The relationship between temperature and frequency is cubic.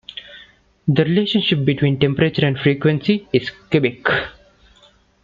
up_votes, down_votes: 2, 0